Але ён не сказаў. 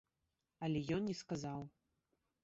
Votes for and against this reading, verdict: 2, 1, accepted